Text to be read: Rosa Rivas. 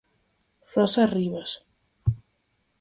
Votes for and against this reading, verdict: 4, 0, accepted